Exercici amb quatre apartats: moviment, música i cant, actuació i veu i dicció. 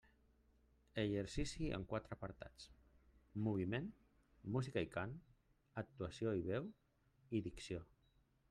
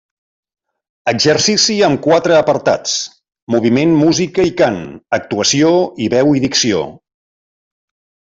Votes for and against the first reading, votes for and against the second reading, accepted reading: 1, 2, 3, 0, second